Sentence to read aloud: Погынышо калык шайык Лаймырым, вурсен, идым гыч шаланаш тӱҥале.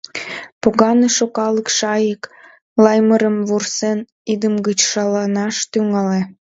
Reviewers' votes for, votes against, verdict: 1, 2, rejected